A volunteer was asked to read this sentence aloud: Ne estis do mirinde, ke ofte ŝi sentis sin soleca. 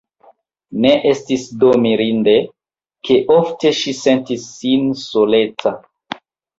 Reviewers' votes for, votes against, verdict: 1, 2, rejected